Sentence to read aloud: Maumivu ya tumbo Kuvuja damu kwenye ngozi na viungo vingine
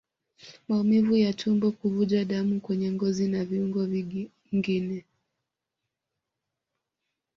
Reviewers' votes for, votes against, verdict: 1, 2, rejected